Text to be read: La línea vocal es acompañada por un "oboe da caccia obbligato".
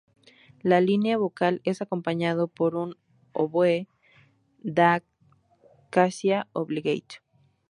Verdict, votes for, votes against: rejected, 2, 4